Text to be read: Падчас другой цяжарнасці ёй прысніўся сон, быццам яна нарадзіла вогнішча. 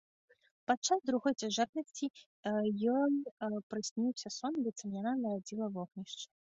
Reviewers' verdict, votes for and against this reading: rejected, 1, 2